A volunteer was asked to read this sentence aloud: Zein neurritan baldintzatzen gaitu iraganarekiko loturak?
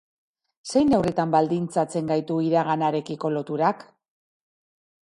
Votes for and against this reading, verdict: 0, 2, rejected